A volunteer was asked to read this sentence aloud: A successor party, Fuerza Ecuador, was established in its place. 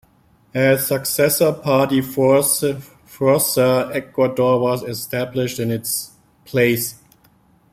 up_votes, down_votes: 1, 2